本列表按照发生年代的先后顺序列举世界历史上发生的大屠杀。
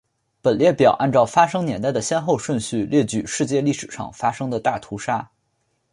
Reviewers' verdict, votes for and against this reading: accepted, 2, 0